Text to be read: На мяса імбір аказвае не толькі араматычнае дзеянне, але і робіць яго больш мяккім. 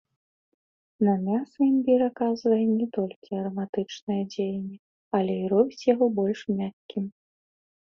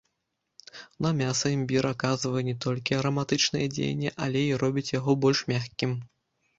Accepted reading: first